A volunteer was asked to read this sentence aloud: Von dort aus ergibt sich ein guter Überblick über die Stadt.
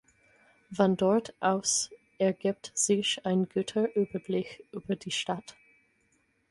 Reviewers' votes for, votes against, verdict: 4, 0, accepted